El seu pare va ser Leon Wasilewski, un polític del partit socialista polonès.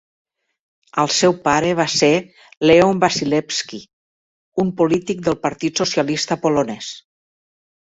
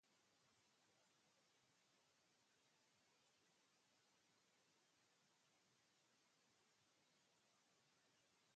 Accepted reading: first